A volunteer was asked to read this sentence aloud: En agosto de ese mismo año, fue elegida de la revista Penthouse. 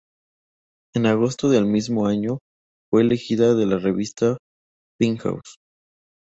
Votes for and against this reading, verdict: 2, 0, accepted